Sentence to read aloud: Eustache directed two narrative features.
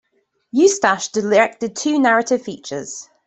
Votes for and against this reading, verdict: 2, 0, accepted